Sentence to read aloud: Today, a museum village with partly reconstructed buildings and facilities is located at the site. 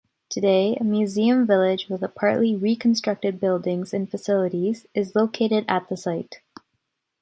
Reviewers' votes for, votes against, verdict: 1, 2, rejected